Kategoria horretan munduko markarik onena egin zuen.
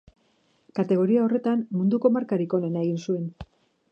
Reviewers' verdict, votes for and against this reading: rejected, 1, 2